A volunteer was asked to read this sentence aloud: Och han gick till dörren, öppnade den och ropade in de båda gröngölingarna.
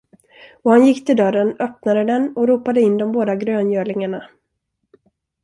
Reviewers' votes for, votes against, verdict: 2, 0, accepted